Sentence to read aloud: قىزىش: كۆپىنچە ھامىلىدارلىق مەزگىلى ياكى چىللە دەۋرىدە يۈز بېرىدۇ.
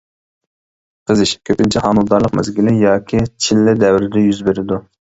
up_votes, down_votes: 0, 2